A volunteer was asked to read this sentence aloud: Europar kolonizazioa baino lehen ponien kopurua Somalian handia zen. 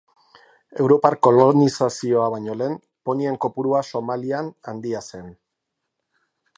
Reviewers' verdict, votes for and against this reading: accepted, 2, 0